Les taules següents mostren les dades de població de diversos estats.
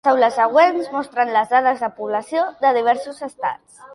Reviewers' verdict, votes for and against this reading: rejected, 1, 2